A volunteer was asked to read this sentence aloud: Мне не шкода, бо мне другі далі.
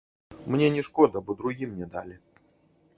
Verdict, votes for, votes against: rejected, 1, 2